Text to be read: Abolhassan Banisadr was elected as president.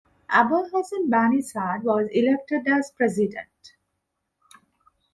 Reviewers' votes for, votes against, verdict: 0, 2, rejected